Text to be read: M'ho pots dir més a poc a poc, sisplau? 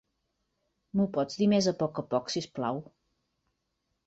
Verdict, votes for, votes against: accepted, 2, 0